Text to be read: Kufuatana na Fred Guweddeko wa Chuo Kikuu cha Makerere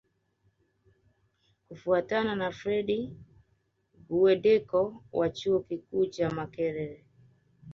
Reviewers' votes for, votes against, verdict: 1, 2, rejected